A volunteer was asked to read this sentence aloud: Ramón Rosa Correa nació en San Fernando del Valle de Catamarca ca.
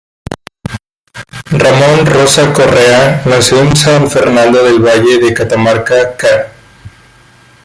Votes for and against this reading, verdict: 1, 2, rejected